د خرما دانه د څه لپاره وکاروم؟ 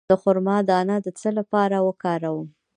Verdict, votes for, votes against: rejected, 0, 2